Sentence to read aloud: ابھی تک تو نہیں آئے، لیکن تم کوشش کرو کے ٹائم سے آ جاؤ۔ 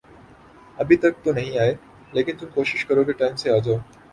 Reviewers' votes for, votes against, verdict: 8, 0, accepted